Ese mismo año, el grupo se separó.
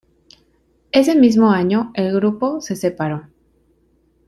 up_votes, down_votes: 2, 0